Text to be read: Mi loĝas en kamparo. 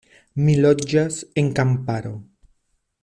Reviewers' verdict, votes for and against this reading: accepted, 2, 0